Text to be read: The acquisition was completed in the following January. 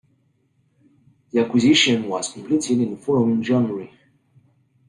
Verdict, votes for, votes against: accepted, 3, 2